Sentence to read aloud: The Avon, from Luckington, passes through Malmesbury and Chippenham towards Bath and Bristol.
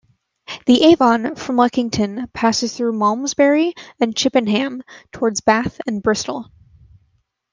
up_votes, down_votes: 2, 0